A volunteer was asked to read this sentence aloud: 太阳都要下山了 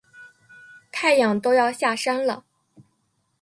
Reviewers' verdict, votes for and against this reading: accepted, 5, 0